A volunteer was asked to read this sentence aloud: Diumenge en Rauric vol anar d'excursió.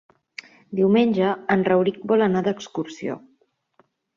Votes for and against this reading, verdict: 3, 0, accepted